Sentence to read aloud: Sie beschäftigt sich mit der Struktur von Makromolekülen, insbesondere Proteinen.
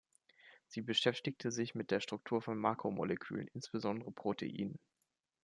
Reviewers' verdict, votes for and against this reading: rejected, 0, 2